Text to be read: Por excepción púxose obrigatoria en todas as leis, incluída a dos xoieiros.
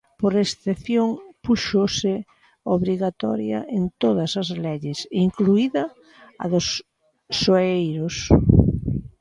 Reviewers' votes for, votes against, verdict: 0, 2, rejected